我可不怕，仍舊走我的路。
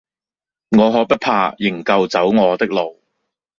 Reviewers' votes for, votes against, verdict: 2, 0, accepted